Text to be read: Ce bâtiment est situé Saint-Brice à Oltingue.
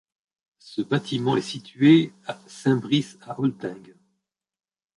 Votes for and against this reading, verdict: 0, 2, rejected